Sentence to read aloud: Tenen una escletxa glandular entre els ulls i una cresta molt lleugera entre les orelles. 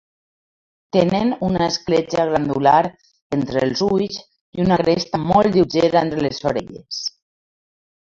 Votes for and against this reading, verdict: 0, 2, rejected